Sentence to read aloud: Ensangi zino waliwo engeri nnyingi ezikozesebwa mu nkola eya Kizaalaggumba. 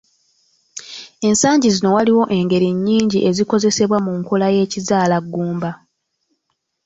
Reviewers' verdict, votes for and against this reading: accepted, 2, 0